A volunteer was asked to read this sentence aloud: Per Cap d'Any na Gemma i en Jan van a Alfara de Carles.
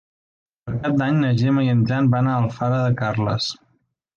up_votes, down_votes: 2, 0